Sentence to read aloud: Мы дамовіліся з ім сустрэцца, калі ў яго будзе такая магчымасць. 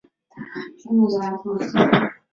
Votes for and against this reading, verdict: 0, 2, rejected